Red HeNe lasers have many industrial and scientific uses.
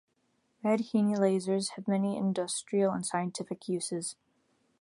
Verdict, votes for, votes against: accepted, 2, 0